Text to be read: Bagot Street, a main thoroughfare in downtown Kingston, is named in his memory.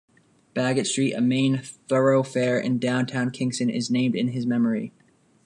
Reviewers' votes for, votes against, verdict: 1, 2, rejected